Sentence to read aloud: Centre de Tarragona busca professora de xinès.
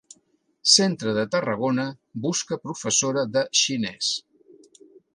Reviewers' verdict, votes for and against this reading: accepted, 2, 0